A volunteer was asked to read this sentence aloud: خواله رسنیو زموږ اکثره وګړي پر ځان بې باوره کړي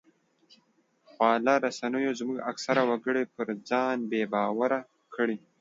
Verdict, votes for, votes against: accepted, 2, 0